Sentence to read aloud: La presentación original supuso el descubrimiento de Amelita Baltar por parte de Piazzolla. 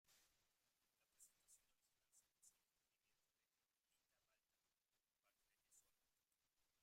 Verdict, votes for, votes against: rejected, 0, 2